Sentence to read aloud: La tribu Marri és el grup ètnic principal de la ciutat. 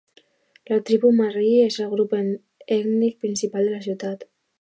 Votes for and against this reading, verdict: 1, 2, rejected